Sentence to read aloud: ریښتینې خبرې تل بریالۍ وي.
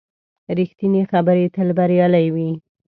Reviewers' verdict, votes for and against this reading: accepted, 2, 0